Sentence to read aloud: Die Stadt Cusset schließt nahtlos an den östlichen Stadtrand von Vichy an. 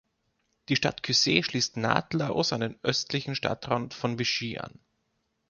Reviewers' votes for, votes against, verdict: 1, 2, rejected